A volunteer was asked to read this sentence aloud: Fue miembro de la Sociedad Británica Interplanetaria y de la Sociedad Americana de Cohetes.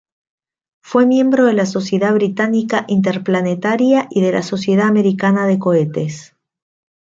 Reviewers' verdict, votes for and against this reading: rejected, 1, 2